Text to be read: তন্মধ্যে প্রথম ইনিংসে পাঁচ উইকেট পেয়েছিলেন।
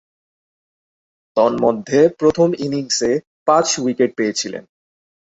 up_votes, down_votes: 22, 1